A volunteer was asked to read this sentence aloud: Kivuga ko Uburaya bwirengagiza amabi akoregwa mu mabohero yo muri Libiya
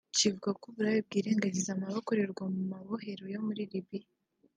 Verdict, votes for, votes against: rejected, 0, 2